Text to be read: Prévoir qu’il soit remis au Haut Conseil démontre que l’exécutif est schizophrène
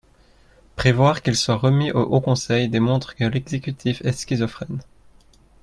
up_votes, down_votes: 2, 0